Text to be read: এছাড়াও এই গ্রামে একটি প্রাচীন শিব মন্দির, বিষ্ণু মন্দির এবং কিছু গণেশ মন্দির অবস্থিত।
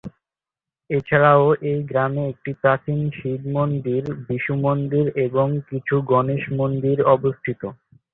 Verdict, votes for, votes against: rejected, 0, 2